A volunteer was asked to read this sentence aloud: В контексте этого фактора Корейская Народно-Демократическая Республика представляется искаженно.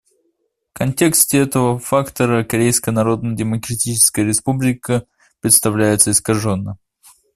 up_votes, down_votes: 2, 0